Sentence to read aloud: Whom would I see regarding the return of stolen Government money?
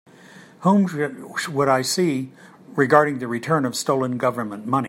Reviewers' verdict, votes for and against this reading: rejected, 0, 2